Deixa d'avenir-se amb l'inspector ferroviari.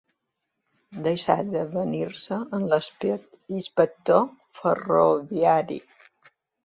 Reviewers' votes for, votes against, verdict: 0, 2, rejected